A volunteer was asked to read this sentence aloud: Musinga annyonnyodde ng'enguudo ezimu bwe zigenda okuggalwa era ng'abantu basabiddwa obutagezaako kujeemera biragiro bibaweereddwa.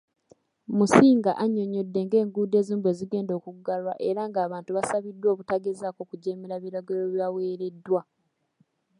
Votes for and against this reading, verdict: 2, 0, accepted